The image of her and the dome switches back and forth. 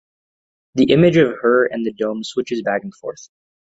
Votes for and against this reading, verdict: 2, 1, accepted